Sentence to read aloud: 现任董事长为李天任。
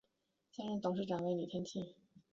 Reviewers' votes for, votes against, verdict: 3, 4, rejected